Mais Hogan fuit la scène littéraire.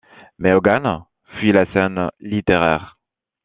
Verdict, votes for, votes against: accepted, 2, 0